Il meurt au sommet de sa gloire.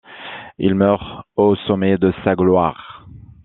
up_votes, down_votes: 2, 0